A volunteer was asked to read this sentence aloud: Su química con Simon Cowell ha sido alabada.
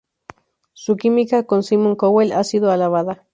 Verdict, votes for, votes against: accepted, 2, 0